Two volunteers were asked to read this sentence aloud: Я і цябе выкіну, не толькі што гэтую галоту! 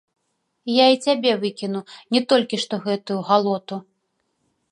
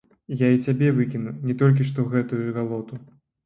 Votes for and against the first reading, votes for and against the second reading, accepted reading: 2, 1, 0, 2, first